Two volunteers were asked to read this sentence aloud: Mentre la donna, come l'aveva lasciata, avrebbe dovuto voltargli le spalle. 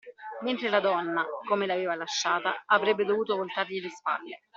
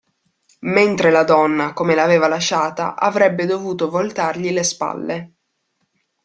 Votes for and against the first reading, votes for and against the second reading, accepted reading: 1, 2, 2, 0, second